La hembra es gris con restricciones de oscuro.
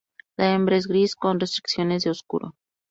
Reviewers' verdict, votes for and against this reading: accepted, 2, 0